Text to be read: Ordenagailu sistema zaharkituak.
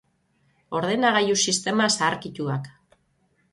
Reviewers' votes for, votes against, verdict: 3, 3, rejected